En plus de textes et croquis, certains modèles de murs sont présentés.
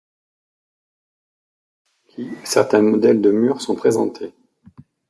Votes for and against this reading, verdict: 2, 3, rejected